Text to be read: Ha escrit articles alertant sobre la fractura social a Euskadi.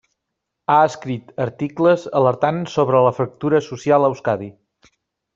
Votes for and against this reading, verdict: 3, 0, accepted